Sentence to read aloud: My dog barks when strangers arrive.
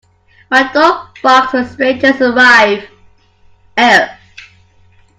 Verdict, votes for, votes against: rejected, 0, 2